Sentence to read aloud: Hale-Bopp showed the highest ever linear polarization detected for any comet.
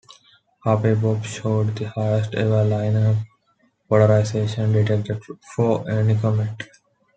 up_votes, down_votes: 1, 2